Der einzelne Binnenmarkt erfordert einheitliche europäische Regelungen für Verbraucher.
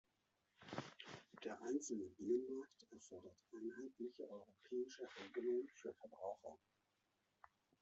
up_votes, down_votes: 0, 2